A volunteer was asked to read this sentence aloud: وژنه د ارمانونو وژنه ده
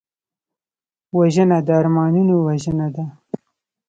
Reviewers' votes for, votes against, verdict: 2, 0, accepted